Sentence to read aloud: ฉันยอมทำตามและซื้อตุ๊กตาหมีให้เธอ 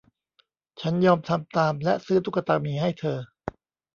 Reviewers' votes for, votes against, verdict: 1, 2, rejected